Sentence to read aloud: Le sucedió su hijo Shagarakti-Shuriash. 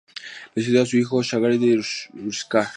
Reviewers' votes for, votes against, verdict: 0, 2, rejected